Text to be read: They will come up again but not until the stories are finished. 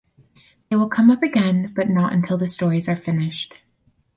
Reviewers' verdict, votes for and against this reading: accepted, 4, 0